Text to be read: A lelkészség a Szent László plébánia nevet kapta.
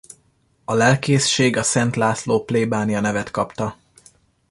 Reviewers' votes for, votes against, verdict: 2, 0, accepted